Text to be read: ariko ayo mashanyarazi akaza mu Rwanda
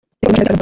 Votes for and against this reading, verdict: 1, 2, rejected